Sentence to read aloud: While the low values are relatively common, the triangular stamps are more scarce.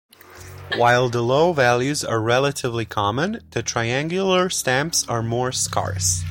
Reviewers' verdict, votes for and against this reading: rejected, 0, 2